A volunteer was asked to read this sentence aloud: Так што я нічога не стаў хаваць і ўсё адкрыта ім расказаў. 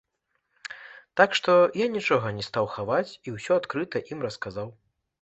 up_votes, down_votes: 2, 0